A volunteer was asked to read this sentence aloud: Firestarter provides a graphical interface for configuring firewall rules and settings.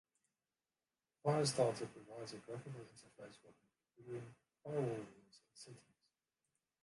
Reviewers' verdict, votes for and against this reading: rejected, 0, 2